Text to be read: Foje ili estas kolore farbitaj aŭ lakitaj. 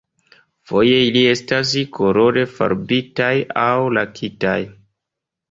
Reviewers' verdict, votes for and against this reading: accepted, 2, 0